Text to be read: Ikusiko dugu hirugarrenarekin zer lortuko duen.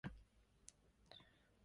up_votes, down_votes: 0, 4